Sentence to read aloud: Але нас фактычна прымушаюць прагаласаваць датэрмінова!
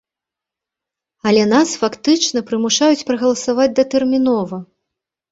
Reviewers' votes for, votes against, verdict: 2, 0, accepted